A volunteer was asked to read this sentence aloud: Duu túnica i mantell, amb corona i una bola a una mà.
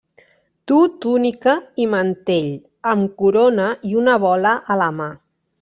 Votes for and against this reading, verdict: 1, 2, rejected